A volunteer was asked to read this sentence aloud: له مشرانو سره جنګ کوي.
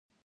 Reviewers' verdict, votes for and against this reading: rejected, 0, 2